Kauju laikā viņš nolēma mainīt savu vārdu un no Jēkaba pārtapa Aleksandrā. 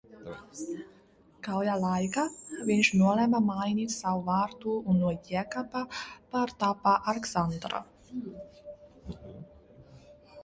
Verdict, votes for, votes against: rejected, 0, 2